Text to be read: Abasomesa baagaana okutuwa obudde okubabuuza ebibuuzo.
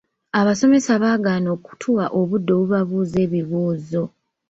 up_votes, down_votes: 3, 0